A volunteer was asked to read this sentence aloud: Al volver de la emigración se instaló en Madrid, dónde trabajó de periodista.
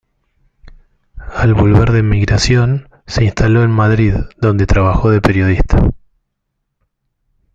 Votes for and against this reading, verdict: 1, 2, rejected